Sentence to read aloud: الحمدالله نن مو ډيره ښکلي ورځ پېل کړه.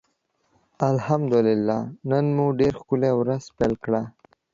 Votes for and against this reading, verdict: 1, 2, rejected